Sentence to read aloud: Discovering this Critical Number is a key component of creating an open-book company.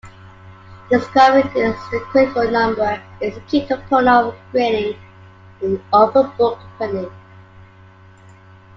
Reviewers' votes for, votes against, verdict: 0, 2, rejected